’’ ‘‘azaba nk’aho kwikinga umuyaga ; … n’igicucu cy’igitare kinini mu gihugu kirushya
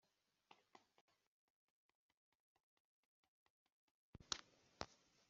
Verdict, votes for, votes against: rejected, 0, 2